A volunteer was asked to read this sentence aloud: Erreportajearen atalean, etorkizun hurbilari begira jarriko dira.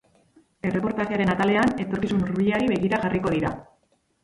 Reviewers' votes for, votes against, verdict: 0, 4, rejected